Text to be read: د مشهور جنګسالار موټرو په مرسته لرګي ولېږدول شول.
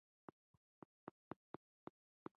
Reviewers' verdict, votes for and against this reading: rejected, 0, 2